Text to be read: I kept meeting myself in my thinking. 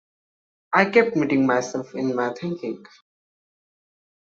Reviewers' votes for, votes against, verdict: 2, 0, accepted